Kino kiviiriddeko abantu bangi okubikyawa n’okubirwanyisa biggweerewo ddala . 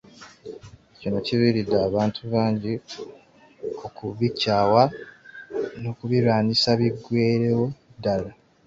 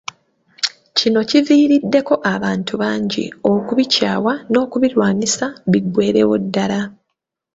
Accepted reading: second